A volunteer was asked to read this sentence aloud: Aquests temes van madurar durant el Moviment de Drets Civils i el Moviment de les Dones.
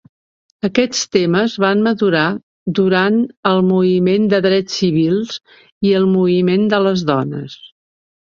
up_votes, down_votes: 2, 1